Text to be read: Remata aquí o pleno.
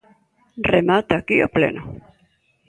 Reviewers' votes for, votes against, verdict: 0, 2, rejected